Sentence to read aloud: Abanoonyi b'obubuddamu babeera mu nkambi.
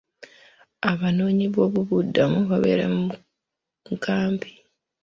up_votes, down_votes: 0, 2